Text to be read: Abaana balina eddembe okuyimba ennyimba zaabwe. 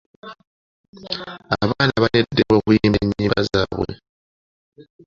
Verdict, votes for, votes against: accepted, 2, 1